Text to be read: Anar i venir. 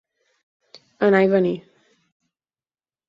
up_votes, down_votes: 4, 0